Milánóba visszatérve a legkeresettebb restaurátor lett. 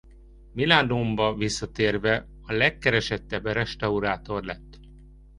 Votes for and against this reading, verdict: 0, 2, rejected